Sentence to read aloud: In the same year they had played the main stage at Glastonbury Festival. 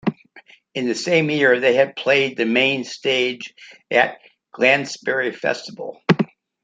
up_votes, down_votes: 1, 2